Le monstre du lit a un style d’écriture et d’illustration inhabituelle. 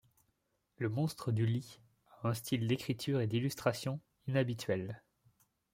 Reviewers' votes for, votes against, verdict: 2, 0, accepted